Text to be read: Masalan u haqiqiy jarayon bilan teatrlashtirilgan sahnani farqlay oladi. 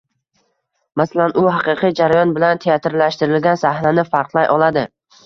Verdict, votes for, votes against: accepted, 2, 0